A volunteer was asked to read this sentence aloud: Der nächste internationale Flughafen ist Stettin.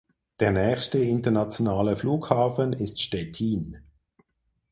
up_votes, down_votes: 4, 0